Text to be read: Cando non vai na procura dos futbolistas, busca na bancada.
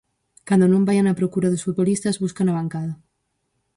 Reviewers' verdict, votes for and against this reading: rejected, 0, 4